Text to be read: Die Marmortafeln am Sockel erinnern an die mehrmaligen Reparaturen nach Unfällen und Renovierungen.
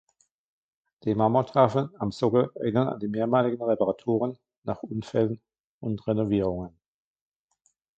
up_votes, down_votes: 1, 2